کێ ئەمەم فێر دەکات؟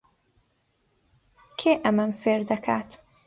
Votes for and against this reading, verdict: 2, 0, accepted